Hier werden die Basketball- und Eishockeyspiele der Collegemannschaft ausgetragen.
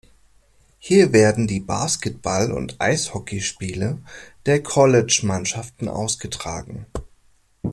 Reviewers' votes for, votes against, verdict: 1, 2, rejected